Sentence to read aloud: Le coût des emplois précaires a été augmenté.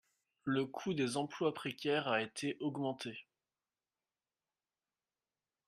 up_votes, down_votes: 3, 1